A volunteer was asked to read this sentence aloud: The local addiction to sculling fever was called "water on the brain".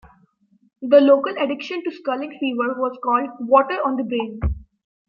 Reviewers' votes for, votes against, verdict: 2, 0, accepted